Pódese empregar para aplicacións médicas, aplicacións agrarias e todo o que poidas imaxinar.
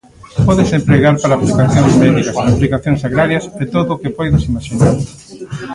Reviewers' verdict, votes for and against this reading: rejected, 0, 2